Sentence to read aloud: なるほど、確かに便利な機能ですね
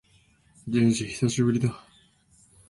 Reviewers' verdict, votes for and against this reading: rejected, 0, 2